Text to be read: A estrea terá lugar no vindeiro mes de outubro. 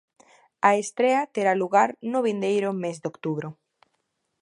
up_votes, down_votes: 2, 0